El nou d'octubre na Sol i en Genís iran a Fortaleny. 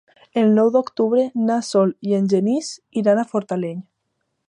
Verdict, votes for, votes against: accepted, 2, 0